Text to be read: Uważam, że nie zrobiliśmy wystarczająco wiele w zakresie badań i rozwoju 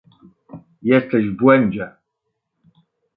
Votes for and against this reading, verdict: 0, 2, rejected